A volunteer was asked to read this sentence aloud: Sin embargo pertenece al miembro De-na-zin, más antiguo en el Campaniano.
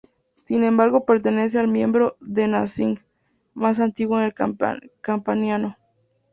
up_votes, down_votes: 6, 2